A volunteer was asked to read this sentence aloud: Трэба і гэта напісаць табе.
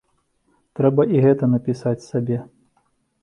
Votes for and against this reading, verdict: 0, 3, rejected